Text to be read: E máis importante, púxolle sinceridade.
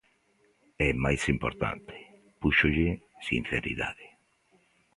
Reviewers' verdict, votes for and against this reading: accepted, 2, 0